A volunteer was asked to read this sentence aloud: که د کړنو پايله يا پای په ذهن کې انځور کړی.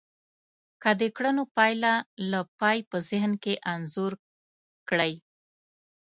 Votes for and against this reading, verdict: 0, 2, rejected